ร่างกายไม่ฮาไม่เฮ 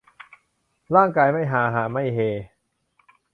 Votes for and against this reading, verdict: 0, 2, rejected